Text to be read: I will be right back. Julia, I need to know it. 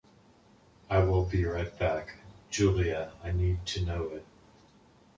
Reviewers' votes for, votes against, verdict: 2, 0, accepted